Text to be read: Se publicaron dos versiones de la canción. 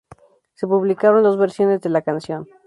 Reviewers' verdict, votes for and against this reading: accepted, 2, 0